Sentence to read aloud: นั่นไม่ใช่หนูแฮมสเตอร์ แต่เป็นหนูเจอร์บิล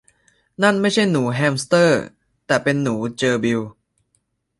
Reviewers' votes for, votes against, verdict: 2, 0, accepted